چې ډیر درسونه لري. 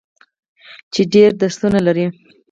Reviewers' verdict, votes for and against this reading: rejected, 0, 4